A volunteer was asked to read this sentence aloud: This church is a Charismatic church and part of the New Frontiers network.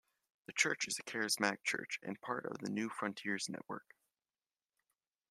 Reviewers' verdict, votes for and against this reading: rejected, 0, 2